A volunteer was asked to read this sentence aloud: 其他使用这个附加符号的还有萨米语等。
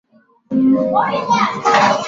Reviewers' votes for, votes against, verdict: 1, 3, rejected